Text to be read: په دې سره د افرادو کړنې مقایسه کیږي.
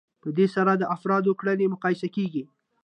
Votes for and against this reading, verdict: 2, 0, accepted